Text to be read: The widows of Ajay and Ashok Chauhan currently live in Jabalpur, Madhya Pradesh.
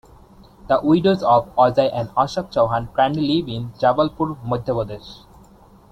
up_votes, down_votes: 2, 0